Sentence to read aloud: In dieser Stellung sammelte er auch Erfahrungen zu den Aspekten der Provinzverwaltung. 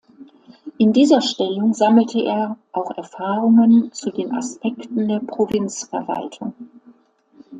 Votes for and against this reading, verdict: 2, 0, accepted